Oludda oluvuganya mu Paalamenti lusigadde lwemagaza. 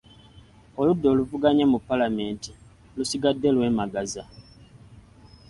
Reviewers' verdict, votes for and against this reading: accepted, 3, 0